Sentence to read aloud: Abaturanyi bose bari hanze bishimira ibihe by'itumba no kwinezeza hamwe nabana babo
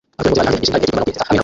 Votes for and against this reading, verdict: 0, 3, rejected